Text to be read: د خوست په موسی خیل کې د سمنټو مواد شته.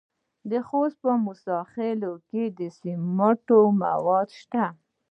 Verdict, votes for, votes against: rejected, 0, 2